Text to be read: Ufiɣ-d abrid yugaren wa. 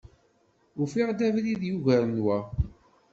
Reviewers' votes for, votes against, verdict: 2, 0, accepted